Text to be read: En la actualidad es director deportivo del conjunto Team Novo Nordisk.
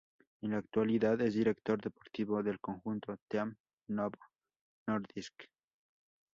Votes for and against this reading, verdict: 2, 0, accepted